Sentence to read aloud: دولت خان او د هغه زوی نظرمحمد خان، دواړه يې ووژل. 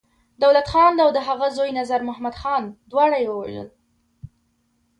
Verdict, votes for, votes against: rejected, 0, 2